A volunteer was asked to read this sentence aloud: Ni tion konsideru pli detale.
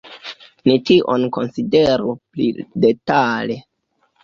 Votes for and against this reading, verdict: 2, 1, accepted